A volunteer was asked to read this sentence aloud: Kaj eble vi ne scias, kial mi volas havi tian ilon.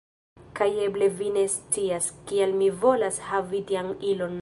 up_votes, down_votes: 0, 2